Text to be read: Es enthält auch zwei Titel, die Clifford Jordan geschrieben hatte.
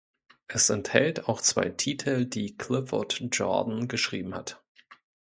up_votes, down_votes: 1, 2